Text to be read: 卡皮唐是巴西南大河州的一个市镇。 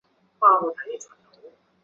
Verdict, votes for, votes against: rejected, 0, 2